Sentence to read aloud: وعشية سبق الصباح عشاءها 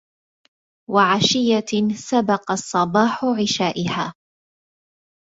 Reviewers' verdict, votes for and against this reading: rejected, 1, 2